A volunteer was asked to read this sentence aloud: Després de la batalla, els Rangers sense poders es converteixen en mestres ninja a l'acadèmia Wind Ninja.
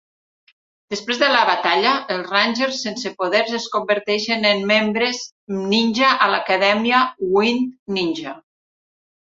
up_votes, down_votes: 1, 2